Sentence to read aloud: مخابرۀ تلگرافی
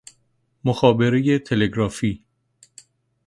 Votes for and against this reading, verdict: 2, 0, accepted